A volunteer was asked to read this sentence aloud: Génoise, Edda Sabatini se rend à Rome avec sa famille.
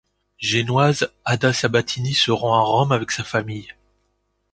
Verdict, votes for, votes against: rejected, 0, 2